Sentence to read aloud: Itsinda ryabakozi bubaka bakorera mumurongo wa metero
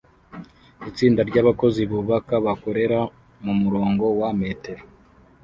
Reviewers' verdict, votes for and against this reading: rejected, 0, 2